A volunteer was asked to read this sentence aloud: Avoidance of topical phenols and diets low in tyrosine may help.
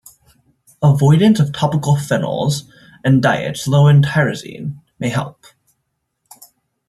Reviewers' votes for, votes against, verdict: 2, 0, accepted